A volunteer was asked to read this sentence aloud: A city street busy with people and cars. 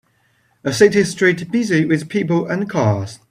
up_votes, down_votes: 2, 0